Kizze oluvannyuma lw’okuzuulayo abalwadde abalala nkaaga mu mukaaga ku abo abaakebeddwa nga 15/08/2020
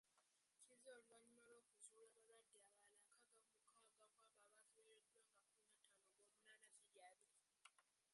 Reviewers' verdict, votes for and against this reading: rejected, 0, 2